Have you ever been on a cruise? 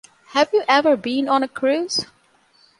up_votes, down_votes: 2, 0